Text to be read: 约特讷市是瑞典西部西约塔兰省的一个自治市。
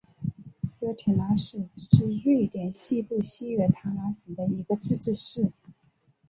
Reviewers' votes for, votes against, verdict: 1, 2, rejected